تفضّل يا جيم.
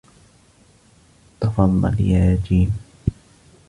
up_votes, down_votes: 2, 0